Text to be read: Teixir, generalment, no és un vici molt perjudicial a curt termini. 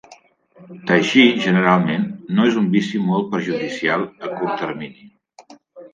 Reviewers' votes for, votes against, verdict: 3, 0, accepted